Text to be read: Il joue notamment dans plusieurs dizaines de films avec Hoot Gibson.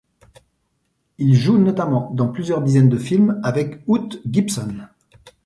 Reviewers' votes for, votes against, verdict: 2, 0, accepted